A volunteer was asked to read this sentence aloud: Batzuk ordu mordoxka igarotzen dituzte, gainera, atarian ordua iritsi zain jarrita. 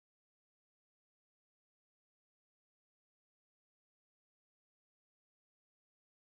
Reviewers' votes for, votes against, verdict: 0, 2, rejected